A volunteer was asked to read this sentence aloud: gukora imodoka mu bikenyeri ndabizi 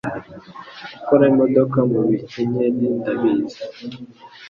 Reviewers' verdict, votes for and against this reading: accepted, 2, 0